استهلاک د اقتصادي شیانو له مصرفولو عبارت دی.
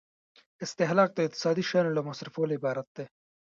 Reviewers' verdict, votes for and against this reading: rejected, 1, 2